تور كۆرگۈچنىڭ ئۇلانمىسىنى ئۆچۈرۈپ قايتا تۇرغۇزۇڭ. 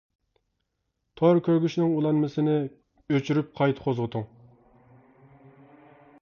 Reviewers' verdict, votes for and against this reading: rejected, 1, 2